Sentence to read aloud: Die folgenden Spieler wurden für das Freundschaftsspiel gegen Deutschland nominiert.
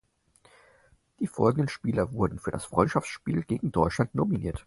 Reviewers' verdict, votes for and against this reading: accepted, 4, 0